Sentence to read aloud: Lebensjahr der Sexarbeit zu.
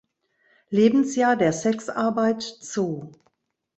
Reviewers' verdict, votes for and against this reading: accepted, 2, 0